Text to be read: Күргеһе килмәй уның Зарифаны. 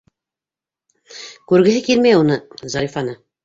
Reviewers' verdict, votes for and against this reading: rejected, 0, 2